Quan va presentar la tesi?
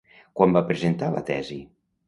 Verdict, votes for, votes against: accepted, 2, 0